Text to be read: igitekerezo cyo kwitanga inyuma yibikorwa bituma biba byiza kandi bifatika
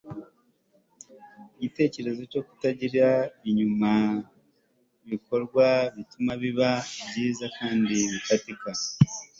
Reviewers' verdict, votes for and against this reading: accepted, 2, 1